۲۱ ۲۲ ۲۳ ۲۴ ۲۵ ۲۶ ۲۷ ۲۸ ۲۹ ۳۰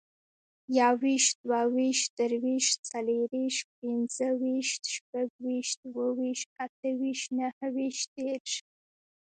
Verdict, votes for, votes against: rejected, 0, 2